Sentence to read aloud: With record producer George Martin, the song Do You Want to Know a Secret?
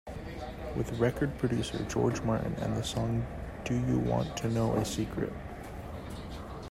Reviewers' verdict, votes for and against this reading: accepted, 2, 0